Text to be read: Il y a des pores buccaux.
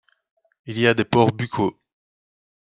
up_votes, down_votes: 2, 0